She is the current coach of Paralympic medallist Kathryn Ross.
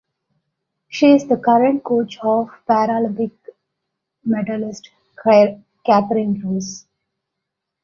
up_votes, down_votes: 0, 2